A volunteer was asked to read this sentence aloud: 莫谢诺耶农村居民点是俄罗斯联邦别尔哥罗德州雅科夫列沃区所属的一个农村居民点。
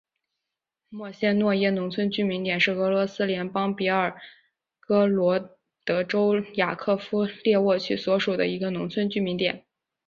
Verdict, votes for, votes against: accepted, 3, 1